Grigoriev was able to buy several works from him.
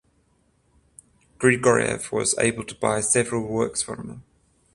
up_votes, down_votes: 7, 14